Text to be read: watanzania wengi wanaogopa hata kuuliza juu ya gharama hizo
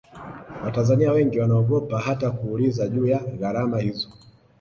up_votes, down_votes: 2, 1